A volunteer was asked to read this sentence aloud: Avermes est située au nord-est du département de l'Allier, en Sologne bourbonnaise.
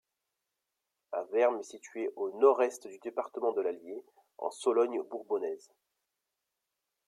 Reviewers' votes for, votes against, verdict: 2, 0, accepted